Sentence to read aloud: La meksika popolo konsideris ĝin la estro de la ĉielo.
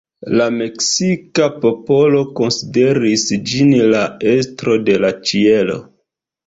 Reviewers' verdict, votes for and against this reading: accepted, 2, 0